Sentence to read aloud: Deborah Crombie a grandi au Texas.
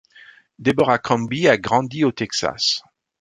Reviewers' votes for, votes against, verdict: 2, 0, accepted